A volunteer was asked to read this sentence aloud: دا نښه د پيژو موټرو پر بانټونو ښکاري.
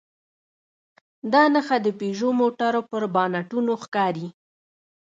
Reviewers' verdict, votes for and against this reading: rejected, 1, 3